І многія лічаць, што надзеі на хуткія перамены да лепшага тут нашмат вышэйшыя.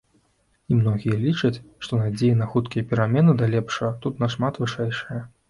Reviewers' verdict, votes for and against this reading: accepted, 2, 0